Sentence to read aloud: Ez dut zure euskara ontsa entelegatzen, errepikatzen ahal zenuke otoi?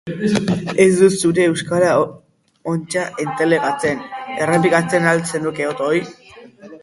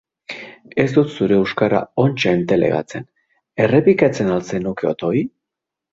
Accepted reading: second